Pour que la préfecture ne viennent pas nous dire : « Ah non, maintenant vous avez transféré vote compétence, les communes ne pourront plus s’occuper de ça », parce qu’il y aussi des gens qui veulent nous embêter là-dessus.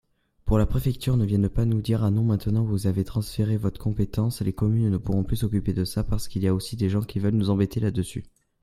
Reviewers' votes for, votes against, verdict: 0, 2, rejected